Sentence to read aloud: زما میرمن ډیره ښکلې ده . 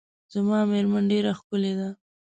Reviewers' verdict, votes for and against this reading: accepted, 2, 0